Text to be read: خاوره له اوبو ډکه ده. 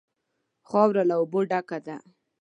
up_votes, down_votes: 2, 0